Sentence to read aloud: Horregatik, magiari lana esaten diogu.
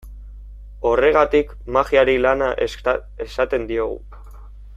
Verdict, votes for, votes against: rejected, 0, 2